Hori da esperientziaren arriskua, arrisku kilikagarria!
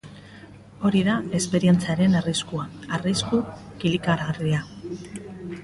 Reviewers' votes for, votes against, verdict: 2, 0, accepted